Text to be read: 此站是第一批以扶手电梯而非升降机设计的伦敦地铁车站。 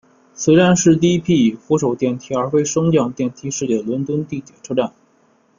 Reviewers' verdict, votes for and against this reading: rejected, 0, 2